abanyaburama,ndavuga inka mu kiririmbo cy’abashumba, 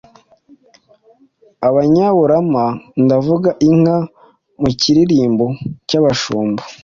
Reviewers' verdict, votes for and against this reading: accepted, 2, 0